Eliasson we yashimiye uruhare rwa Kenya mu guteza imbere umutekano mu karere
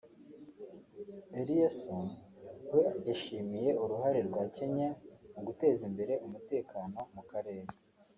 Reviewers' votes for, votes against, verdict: 4, 1, accepted